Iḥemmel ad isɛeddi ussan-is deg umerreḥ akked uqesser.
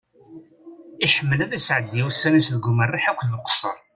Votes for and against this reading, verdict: 2, 0, accepted